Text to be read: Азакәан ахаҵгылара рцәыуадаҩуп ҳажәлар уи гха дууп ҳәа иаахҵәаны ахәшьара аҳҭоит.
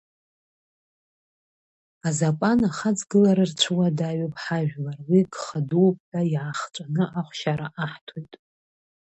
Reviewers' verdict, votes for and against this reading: accepted, 2, 1